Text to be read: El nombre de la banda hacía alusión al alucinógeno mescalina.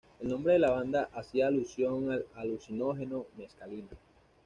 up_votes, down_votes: 2, 0